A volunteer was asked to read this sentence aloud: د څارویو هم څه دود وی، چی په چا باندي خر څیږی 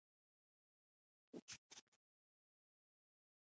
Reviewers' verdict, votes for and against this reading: rejected, 0, 2